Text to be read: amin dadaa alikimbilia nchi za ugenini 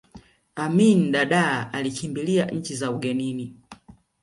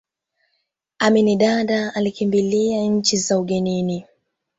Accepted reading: second